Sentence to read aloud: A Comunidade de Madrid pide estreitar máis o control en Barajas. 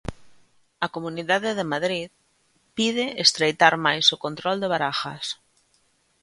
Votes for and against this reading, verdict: 0, 2, rejected